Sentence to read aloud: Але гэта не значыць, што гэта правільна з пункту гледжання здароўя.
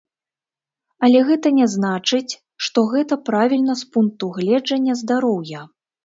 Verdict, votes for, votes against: rejected, 1, 2